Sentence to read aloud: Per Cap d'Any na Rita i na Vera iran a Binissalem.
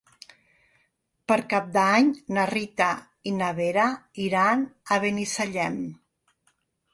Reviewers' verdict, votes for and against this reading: rejected, 0, 3